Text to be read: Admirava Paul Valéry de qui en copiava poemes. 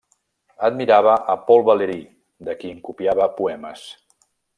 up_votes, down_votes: 1, 2